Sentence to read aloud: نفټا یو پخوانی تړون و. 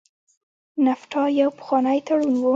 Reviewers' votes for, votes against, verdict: 0, 2, rejected